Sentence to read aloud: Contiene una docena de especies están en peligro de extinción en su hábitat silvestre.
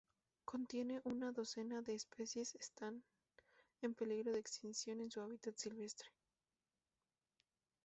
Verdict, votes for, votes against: rejected, 0, 2